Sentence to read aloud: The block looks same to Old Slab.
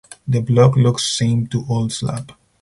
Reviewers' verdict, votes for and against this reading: accepted, 4, 0